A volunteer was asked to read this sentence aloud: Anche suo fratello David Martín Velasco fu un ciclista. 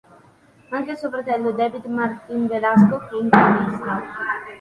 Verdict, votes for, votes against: accepted, 3, 0